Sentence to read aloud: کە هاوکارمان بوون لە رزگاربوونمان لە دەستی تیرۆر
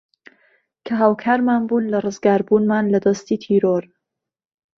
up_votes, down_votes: 2, 0